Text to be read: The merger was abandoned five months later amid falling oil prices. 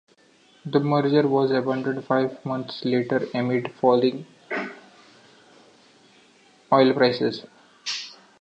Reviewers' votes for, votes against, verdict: 2, 0, accepted